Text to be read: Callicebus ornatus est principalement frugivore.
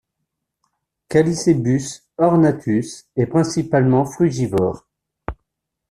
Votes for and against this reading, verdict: 2, 0, accepted